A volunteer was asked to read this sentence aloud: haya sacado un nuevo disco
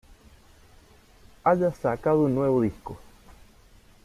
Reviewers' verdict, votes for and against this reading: accepted, 2, 1